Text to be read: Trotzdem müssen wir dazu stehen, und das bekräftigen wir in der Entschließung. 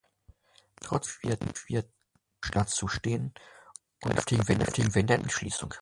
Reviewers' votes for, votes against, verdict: 0, 2, rejected